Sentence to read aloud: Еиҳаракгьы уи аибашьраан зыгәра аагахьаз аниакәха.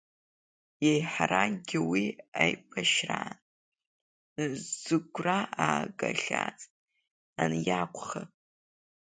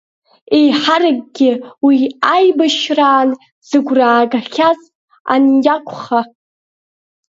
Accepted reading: second